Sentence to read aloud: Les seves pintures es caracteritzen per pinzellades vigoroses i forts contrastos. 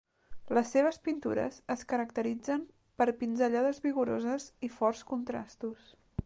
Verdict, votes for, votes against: rejected, 1, 2